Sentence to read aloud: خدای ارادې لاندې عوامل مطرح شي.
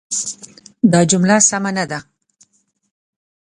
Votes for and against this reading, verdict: 1, 2, rejected